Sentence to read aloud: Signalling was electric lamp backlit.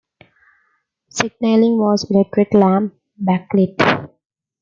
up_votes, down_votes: 2, 0